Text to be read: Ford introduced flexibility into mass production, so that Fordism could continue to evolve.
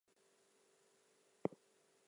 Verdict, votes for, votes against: accepted, 2, 0